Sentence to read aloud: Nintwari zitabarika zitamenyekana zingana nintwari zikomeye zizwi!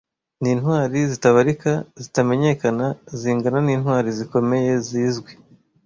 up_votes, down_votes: 2, 0